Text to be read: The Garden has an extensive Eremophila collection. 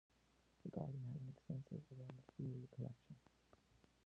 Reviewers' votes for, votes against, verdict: 0, 2, rejected